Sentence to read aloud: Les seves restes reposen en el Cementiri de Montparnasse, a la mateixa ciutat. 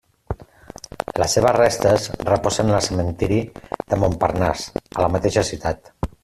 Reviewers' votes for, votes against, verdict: 1, 2, rejected